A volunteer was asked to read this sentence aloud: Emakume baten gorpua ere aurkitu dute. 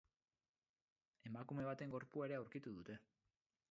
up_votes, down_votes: 6, 2